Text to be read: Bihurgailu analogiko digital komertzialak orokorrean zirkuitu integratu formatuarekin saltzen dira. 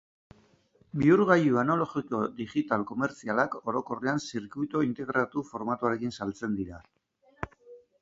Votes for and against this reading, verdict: 1, 2, rejected